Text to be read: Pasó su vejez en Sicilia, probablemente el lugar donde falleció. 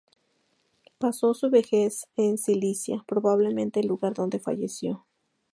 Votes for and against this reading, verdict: 2, 0, accepted